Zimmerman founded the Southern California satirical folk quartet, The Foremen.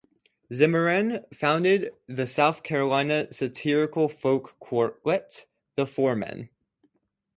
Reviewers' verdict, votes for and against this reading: rejected, 0, 4